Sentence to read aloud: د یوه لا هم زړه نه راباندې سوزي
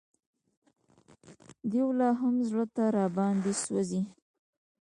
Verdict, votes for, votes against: rejected, 1, 2